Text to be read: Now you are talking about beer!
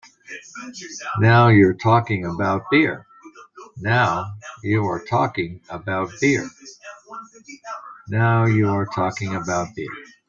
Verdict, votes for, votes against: rejected, 1, 2